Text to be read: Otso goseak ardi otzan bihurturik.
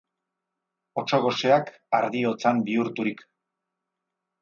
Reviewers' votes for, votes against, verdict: 0, 2, rejected